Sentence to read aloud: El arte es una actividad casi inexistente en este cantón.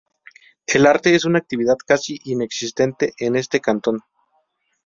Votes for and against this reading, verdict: 2, 0, accepted